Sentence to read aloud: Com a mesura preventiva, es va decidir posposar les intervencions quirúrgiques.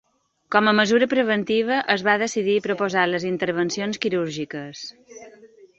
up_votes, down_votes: 2, 0